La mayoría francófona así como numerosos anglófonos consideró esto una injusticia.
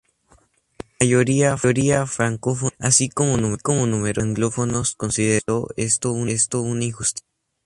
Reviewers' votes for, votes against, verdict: 2, 2, rejected